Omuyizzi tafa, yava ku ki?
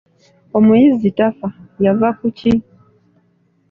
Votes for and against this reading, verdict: 2, 0, accepted